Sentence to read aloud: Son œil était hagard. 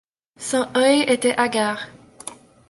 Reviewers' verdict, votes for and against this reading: rejected, 1, 2